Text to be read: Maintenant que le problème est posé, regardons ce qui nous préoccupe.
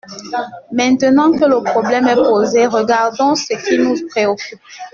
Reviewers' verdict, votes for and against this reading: accepted, 2, 0